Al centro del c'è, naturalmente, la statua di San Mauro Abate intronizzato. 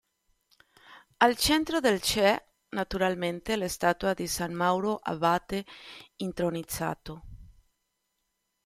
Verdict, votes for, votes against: rejected, 1, 2